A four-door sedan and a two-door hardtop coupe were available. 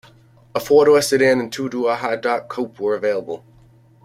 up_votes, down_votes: 1, 2